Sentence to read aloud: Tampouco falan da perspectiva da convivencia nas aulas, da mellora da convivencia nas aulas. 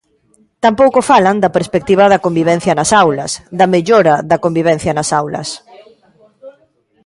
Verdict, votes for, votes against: accepted, 2, 0